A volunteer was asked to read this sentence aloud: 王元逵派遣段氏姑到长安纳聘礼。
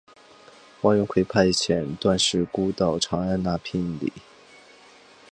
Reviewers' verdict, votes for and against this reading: accepted, 6, 0